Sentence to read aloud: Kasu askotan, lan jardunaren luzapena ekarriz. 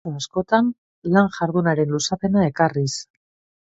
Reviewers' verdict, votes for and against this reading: rejected, 0, 3